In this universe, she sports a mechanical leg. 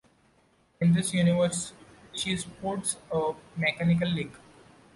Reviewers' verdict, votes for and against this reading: accepted, 2, 0